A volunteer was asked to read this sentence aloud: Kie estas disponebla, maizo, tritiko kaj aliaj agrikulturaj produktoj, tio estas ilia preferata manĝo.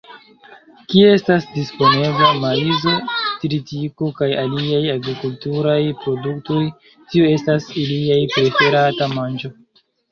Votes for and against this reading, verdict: 0, 2, rejected